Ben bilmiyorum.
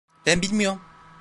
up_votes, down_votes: 0, 2